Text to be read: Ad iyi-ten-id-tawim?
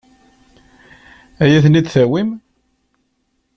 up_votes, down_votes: 2, 0